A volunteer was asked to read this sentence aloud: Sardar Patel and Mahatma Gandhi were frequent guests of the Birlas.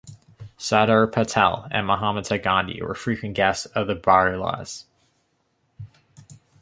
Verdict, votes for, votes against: rejected, 1, 2